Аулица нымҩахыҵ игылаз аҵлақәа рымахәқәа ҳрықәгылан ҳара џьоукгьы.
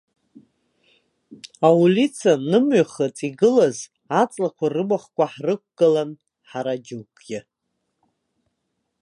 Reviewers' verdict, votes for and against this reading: rejected, 1, 2